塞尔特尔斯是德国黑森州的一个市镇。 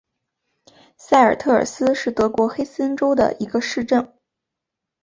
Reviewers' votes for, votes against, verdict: 4, 1, accepted